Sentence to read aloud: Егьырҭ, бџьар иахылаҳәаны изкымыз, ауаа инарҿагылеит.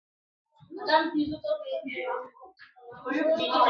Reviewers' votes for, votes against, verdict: 0, 5, rejected